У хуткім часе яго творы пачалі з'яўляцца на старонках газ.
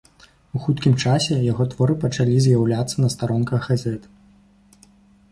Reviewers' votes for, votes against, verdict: 0, 2, rejected